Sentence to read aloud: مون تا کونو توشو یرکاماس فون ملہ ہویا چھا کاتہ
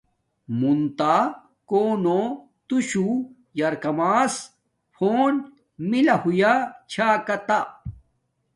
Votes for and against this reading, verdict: 2, 0, accepted